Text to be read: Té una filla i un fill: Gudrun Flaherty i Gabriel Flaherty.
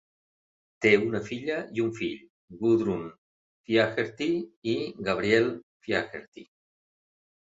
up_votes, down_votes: 2, 3